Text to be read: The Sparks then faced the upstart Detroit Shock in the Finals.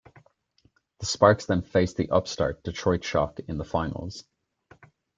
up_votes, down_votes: 5, 0